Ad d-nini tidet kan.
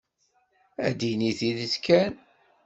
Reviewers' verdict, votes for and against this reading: rejected, 0, 2